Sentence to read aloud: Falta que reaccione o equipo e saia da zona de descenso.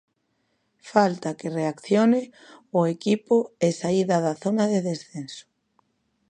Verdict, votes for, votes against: rejected, 0, 2